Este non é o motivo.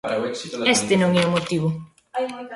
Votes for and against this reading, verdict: 1, 2, rejected